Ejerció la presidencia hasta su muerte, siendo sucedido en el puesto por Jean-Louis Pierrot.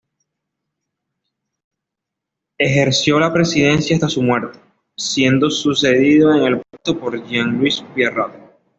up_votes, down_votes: 2, 0